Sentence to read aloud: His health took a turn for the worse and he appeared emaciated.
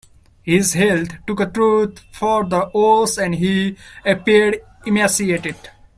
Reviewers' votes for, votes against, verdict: 0, 2, rejected